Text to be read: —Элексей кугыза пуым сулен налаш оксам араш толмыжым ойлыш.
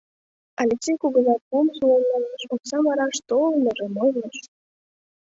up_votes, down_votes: 1, 2